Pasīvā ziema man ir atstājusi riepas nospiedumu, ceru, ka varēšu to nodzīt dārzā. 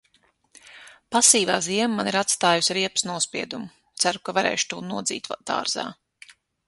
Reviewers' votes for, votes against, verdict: 3, 6, rejected